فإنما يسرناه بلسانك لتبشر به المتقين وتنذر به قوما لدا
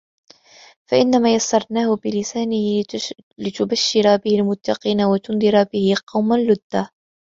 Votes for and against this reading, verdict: 2, 4, rejected